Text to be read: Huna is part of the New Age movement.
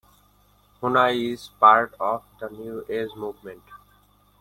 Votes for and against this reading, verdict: 2, 1, accepted